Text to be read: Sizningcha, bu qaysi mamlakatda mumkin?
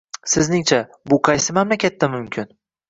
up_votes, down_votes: 2, 0